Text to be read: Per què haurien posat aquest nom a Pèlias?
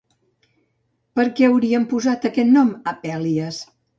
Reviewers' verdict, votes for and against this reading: accepted, 2, 0